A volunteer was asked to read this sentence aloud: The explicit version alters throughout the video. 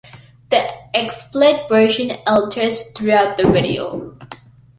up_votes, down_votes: 1, 2